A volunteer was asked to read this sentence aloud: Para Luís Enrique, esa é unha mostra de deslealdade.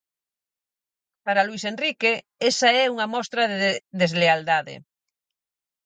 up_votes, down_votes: 0, 4